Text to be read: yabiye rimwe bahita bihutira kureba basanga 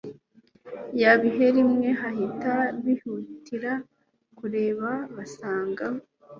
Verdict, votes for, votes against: rejected, 1, 2